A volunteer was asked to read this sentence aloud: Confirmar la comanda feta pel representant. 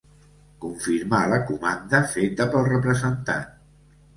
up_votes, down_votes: 2, 1